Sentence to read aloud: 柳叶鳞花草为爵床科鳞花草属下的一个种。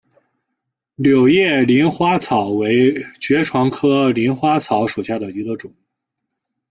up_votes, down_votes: 2, 0